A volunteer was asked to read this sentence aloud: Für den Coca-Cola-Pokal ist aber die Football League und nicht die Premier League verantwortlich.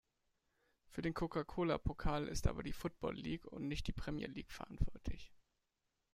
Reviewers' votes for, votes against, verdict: 0, 2, rejected